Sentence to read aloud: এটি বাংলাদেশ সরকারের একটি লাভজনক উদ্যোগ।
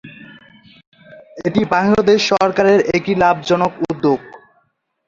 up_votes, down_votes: 2, 0